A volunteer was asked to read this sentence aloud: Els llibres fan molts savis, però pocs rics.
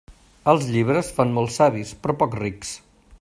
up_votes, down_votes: 2, 0